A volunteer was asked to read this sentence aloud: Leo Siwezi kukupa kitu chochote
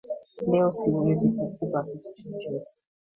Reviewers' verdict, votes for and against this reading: accepted, 2, 1